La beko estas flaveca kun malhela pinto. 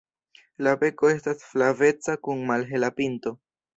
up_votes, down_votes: 1, 2